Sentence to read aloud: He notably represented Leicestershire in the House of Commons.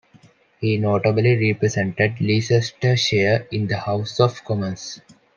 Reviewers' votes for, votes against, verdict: 2, 0, accepted